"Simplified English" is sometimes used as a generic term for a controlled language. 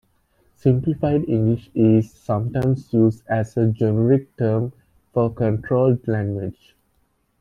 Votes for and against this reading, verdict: 2, 0, accepted